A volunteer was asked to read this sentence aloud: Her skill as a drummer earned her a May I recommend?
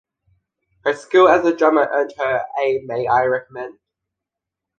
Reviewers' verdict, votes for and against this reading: accepted, 2, 0